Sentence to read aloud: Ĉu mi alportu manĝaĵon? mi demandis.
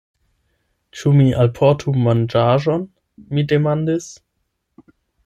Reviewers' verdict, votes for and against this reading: accepted, 8, 0